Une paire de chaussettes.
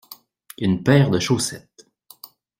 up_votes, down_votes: 2, 0